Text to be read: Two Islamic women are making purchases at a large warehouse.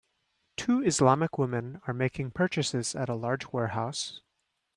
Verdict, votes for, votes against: accepted, 2, 0